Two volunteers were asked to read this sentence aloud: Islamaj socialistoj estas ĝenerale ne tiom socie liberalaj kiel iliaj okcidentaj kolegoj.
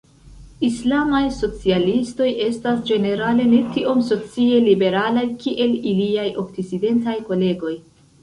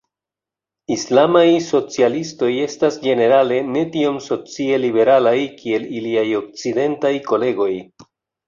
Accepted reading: second